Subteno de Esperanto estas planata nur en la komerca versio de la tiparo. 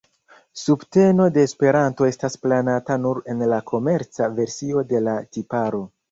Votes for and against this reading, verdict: 0, 2, rejected